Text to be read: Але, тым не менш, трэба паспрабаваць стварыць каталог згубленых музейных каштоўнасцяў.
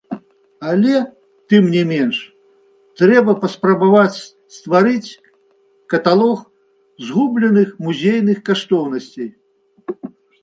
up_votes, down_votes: 0, 2